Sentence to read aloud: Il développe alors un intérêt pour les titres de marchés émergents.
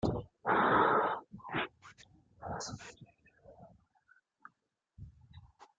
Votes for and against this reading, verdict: 0, 2, rejected